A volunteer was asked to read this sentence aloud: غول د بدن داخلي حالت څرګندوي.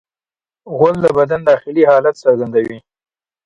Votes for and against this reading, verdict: 2, 0, accepted